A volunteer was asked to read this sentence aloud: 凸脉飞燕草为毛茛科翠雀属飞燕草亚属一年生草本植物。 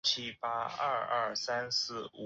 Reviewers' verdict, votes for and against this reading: rejected, 0, 3